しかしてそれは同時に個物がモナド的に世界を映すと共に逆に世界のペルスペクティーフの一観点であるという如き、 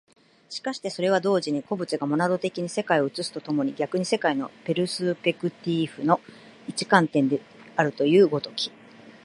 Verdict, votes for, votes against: accepted, 2, 1